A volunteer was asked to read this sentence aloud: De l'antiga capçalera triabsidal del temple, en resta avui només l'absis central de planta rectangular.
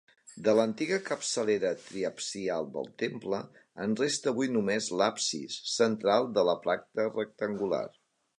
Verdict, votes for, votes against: rejected, 0, 2